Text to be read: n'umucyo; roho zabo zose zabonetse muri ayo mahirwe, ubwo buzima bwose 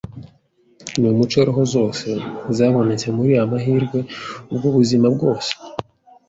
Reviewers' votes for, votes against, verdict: 1, 2, rejected